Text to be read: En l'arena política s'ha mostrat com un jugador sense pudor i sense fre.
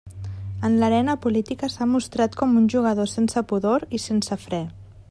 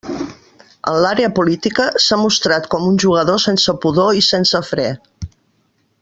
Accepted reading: first